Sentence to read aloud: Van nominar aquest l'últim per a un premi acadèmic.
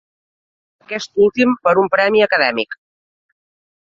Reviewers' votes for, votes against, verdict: 0, 2, rejected